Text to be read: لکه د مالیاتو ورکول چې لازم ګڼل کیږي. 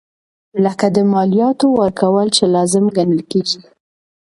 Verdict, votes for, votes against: accepted, 2, 0